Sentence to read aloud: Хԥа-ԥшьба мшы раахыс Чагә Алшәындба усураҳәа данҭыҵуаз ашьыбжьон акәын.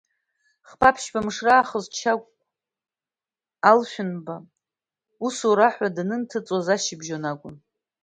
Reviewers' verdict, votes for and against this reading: accepted, 2, 0